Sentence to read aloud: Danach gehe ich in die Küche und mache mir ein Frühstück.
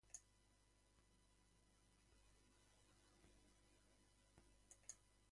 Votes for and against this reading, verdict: 0, 2, rejected